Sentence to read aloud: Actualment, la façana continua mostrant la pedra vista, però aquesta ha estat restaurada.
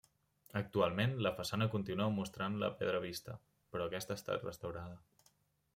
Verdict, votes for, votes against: accepted, 2, 0